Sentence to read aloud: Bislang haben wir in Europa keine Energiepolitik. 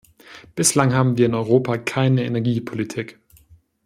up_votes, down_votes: 2, 0